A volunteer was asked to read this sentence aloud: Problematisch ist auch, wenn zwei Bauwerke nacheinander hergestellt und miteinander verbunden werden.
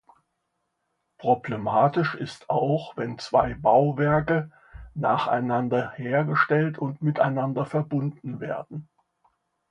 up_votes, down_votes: 2, 0